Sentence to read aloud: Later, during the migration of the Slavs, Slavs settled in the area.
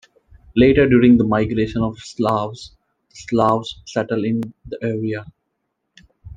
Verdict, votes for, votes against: accepted, 2, 0